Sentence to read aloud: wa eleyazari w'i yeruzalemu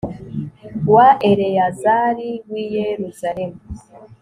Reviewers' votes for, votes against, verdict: 3, 0, accepted